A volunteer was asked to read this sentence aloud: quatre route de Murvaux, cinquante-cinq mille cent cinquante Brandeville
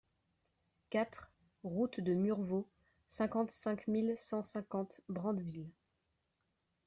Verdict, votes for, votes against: accepted, 2, 0